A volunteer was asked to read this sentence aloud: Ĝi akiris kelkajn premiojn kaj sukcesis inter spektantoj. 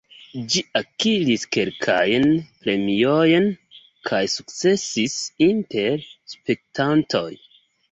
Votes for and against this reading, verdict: 3, 2, accepted